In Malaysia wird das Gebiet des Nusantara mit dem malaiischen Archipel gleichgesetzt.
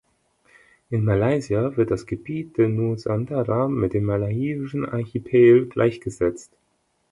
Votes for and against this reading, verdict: 1, 2, rejected